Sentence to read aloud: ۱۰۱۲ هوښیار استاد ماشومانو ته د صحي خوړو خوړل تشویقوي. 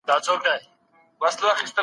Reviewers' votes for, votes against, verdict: 0, 2, rejected